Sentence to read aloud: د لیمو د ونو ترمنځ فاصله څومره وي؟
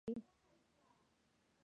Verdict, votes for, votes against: rejected, 0, 2